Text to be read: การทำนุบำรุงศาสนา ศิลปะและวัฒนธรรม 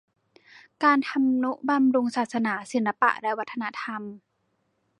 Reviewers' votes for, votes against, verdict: 2, 0, accepted